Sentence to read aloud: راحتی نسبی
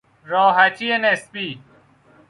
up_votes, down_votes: 2, 0